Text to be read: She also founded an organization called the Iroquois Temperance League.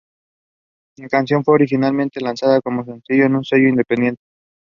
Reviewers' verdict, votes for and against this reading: rejected, 0, 2